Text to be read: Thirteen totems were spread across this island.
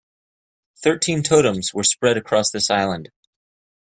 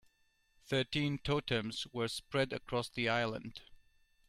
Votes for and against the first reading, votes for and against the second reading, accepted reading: 2, 0, 1, 2, first